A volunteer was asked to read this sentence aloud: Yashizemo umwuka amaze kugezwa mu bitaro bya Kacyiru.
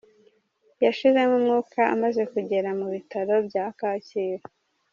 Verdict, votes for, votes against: rejected, 0, 2